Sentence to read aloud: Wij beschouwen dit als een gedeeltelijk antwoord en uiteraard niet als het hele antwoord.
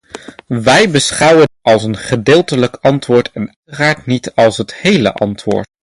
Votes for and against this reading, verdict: 0, 2, rejected